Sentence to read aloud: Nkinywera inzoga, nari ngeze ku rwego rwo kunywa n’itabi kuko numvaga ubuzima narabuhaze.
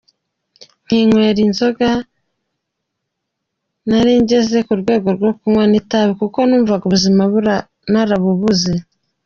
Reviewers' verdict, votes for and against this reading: rejected, 0, 2